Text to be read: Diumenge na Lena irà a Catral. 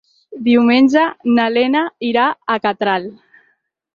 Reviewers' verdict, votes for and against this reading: accepted, 6, 0